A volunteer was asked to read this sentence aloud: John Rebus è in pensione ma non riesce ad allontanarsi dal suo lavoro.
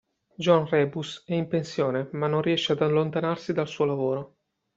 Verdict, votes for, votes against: accepted, 2, 0